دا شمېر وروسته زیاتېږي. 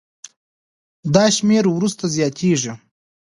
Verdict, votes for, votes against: rejected, 1, 2